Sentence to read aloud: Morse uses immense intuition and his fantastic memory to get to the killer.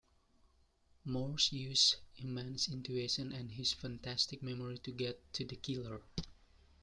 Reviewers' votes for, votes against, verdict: 0, 2, rejected